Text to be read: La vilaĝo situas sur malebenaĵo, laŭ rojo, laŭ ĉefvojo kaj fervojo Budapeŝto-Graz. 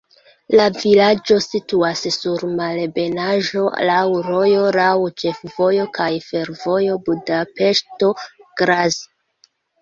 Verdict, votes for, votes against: accepted, 2, 0